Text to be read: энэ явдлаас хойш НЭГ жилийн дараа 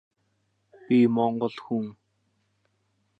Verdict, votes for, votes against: rejected, 0, 3